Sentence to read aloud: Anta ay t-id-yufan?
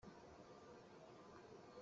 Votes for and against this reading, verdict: 1, 2, rejected